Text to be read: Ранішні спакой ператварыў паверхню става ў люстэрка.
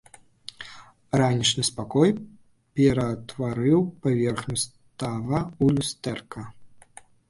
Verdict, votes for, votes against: rejected, 1, 2